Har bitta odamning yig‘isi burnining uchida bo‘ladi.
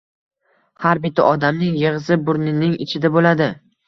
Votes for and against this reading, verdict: 2, 1, accepted